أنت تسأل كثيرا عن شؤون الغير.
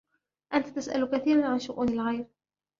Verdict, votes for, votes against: accepted, 2, 0